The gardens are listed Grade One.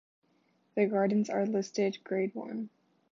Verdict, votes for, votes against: accepted, 2, 0